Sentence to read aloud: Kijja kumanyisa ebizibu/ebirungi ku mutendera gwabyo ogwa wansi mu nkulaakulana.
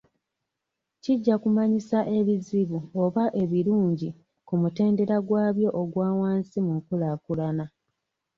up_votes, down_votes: 1, 2